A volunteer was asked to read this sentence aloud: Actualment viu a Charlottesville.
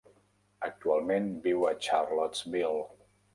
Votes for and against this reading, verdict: 1, 2, rejected